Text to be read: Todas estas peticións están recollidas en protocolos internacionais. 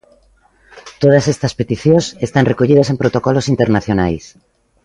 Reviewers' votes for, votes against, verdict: 2, 0, accepted